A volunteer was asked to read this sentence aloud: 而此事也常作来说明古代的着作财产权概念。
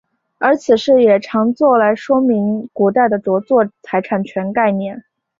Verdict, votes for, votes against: accepted, 2, 0